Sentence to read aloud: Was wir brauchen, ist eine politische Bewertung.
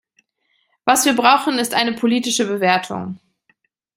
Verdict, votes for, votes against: accepted, 2, 0